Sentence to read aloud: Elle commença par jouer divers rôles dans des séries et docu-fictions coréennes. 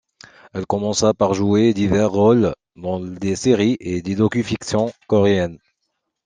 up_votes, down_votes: 2, 0